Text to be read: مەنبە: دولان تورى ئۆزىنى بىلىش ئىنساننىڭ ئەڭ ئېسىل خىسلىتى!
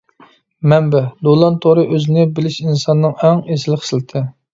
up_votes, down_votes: 2, 0